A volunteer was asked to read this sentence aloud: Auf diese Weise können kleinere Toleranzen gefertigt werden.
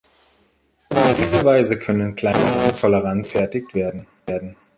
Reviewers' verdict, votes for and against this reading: rejected, 0, 2